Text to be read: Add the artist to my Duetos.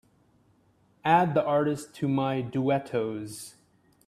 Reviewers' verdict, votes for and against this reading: accepted, 2, 0